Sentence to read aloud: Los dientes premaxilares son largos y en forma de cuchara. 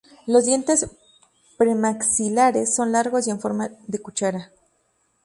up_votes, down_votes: 0, 2